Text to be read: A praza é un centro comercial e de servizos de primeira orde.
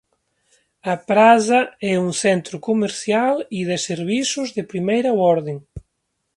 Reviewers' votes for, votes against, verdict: 0, 2, rejected